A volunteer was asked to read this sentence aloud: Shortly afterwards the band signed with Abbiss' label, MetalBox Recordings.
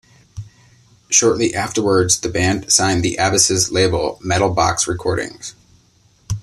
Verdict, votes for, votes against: rejected, 1, 2